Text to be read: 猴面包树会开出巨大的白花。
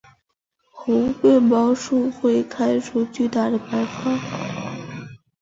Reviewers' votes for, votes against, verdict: 4, 0, accepted